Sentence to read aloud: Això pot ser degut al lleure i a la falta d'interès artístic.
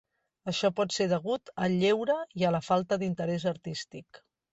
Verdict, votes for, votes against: accepted, 3, 0